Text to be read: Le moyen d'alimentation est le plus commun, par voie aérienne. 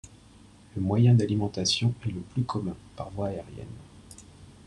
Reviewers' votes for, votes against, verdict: 3, 1, accepted